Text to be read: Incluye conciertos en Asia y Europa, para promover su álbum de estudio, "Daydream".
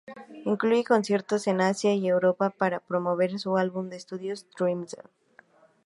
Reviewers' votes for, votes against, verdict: 2, 0, accepted